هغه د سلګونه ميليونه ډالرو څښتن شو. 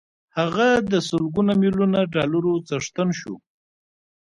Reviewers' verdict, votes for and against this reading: rejected, 1, 2